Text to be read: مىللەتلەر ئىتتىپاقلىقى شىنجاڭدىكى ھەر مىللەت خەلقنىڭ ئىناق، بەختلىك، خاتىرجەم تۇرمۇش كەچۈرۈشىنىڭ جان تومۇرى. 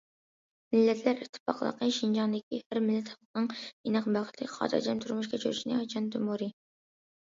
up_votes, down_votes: 1, 2